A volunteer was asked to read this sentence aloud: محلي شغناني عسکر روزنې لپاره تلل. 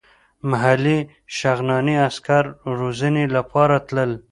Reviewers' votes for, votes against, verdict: 2, 0, accepted